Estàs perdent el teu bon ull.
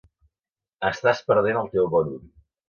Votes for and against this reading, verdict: 2, 0, accepted